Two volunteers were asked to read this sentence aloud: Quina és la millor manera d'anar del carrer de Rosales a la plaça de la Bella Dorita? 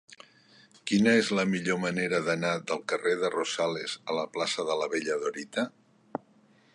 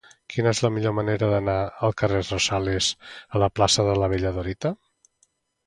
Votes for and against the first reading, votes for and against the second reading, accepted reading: 2, 0, 1, 2, first